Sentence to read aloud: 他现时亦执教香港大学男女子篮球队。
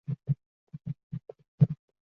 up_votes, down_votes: 0, 3